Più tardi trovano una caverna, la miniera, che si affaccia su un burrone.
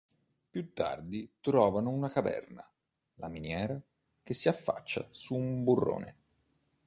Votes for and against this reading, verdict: 2, 0, accepted